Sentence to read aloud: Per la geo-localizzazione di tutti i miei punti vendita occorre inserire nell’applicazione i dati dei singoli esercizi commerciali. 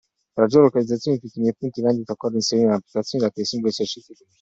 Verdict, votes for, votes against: rejected, 0, 2